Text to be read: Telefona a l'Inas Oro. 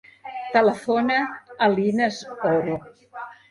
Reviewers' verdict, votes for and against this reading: accepted, 2, 0